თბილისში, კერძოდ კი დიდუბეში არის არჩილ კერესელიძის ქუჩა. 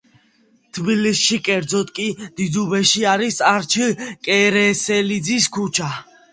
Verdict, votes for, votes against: accepted, 2, 0